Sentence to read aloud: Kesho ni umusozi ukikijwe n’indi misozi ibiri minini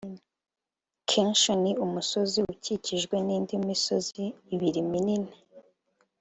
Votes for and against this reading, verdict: 1, 2, rejected